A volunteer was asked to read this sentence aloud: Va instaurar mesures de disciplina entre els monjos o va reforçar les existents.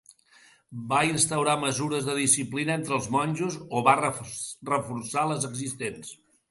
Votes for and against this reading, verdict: 1, 2, rejected